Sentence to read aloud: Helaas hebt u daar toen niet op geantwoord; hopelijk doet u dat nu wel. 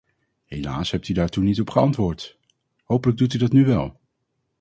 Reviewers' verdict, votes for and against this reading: accepted, 2, 0